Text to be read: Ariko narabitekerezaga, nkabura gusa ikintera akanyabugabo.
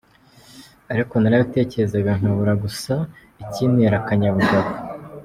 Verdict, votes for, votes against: accepted, 2, 0